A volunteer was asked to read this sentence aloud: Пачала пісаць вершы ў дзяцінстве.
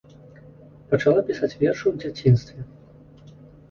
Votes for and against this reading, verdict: 2, 0, accepted